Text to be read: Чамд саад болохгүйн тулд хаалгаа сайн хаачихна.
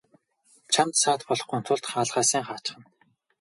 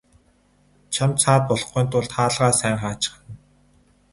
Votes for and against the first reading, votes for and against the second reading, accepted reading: 2, 0, 2, 2, first